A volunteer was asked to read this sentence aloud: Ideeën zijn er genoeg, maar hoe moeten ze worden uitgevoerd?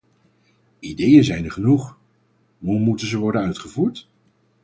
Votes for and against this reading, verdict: 0, 4, rejected